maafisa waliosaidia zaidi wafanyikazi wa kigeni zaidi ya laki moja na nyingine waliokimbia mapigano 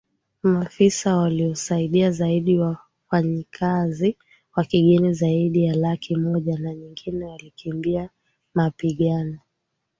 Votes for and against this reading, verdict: 0, 2, rejected